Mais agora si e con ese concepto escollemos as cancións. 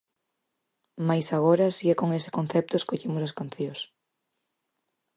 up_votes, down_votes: 4, 0